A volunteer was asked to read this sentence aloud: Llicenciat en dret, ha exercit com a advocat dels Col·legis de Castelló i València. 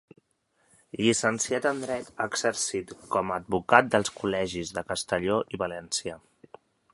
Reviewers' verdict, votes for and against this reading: accepted, 3, 0